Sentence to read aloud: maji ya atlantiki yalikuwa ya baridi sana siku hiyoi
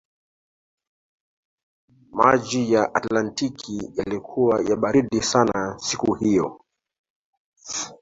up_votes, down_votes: 2, 1